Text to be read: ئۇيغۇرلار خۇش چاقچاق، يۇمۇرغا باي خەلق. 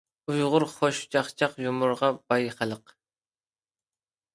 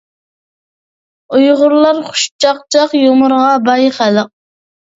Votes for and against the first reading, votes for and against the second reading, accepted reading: 1, 2, 2, 0, second